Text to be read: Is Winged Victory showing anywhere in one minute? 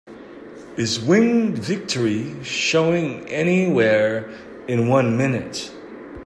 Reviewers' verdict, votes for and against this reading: accepted, 2, 0